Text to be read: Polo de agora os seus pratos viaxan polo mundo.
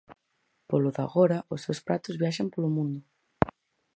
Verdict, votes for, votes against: accepted, 4, 0